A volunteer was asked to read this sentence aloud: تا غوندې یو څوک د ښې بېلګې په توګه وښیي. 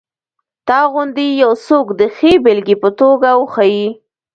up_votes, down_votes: 2, 1